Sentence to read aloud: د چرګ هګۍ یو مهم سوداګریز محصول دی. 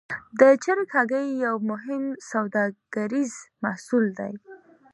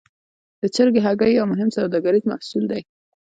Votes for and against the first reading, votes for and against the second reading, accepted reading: 2, 0, 0, 2, first